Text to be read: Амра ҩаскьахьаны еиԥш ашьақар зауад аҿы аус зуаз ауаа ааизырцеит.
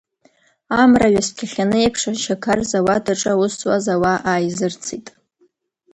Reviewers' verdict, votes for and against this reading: rejected, 1, 2